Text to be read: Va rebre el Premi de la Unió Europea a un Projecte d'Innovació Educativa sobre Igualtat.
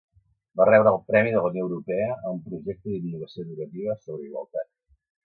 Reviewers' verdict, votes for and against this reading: rejected, 1, 2